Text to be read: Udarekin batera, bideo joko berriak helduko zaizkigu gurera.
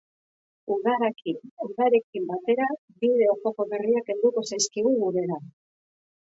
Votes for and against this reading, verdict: 0, 9, rejected